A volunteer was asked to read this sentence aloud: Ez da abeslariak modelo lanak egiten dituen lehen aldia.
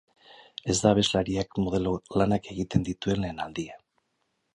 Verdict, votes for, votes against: accepted, 2, 0